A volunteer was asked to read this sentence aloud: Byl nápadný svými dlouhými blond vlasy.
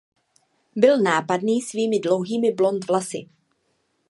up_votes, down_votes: 2, 0